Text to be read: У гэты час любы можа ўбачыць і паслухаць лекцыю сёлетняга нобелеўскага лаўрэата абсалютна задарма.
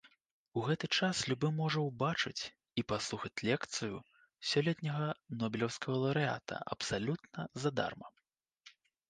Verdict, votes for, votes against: accepted, 2, 1